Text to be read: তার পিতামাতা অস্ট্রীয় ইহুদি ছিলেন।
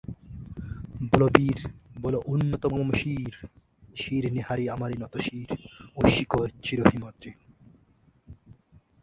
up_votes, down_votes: 0, 4